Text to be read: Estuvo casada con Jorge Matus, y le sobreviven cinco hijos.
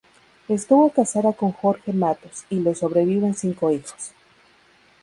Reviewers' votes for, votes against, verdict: 2, 2, rejected